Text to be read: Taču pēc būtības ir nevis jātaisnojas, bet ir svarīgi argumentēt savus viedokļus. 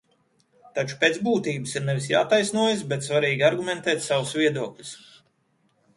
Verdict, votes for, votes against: rejected, 0, 2